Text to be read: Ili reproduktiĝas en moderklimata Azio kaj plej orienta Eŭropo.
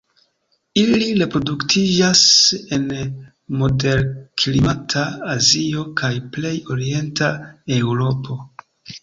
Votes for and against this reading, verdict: 2, 0, accepted